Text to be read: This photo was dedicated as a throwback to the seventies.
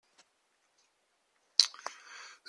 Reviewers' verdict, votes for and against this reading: rejected, 0, 2